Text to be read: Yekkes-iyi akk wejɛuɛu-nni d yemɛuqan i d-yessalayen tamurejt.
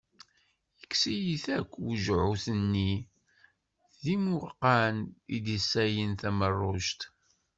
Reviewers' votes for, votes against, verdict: 0, 2, rejected